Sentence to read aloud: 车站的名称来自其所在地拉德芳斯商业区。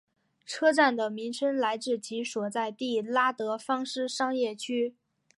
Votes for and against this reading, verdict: 2, 0, accepted